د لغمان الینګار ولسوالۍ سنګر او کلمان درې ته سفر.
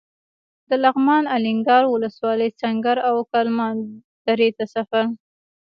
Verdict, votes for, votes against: accepted, 2, 0